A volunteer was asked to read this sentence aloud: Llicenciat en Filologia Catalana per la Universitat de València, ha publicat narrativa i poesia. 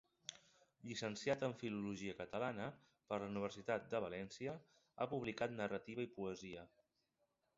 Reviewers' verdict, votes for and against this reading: accepted, 2, 0